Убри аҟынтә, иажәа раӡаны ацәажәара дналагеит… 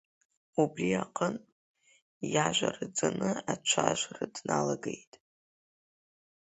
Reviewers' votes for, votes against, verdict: 2, 1, accepted